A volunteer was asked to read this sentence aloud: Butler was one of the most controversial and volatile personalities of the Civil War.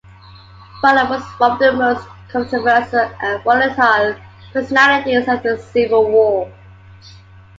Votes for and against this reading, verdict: 2, 1, accepted